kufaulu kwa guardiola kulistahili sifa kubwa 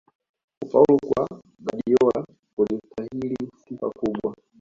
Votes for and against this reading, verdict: 2, 0, accepted